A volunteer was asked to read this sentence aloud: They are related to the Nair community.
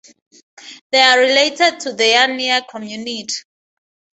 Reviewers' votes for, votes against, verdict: 0, 4, rejected